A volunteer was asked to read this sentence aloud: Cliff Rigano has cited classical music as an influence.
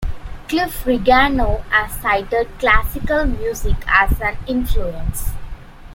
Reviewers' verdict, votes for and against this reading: accepted, 2, 0